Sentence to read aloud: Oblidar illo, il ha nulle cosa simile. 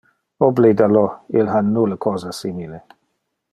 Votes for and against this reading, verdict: 0, 2, rejected